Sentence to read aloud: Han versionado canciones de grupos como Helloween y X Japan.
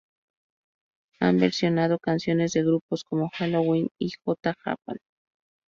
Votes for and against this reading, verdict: 0, 2, rejected